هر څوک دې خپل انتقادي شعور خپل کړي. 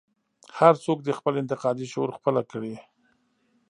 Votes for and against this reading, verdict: 1, 2, rejected